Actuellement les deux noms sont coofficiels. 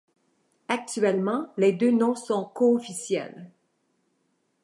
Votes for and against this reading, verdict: 2, 0, accepted